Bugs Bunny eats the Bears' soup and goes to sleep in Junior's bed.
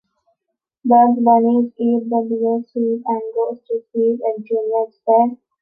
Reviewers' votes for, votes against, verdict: 1, 2, rejected